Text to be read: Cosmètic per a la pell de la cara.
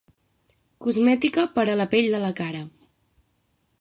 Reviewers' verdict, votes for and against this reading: rejected, 3, 6